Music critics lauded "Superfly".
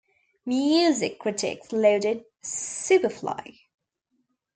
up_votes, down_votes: 1, 2